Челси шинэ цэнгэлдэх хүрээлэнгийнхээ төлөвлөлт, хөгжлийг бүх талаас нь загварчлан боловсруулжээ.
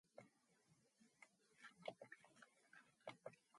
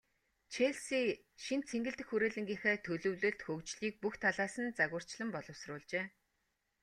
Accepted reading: second